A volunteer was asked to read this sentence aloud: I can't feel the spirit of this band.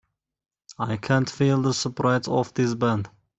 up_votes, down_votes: 1, 2